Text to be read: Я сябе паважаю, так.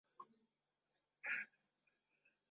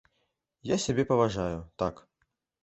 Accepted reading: second